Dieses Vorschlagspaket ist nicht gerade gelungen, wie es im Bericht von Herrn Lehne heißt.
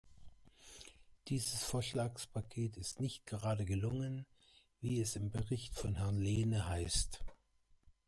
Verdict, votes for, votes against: rejected, 1, 2